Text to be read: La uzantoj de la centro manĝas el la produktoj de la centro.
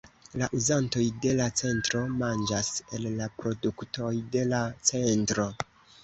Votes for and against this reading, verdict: 0, 2, rejected